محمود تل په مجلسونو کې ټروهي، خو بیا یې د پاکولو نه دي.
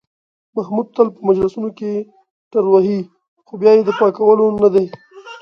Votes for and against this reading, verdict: 2, 0, accepted